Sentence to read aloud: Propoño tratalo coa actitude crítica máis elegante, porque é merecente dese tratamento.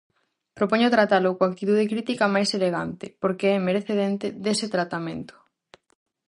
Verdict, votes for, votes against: rejected, 0, 2